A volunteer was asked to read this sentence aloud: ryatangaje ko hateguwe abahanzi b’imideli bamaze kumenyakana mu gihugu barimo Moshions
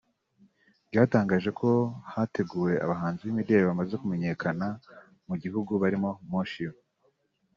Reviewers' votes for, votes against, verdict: 3, 0, accepted